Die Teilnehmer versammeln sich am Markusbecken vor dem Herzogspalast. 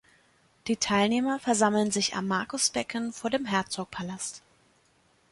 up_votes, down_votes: 2, 3